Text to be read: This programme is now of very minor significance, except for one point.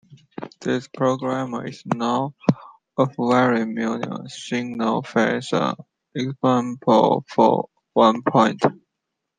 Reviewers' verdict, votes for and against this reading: accepted, 2, 1